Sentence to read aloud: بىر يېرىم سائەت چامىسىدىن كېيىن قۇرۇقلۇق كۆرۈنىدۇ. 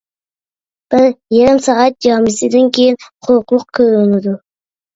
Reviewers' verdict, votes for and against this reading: rejected, 1, 2